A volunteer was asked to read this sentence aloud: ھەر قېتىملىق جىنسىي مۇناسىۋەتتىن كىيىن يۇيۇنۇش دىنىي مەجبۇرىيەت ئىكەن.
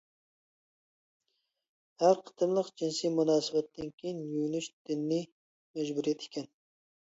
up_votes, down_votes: 1, 2